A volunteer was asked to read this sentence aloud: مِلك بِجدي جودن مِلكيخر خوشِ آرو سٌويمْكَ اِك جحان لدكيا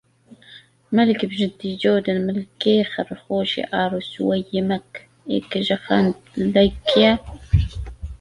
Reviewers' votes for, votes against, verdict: 1, 2, rejected